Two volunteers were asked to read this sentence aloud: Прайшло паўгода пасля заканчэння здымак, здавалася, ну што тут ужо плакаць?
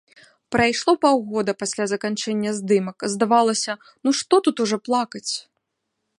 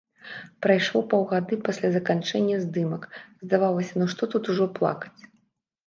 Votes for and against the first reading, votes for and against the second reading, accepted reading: 2, 0, 1, 2, first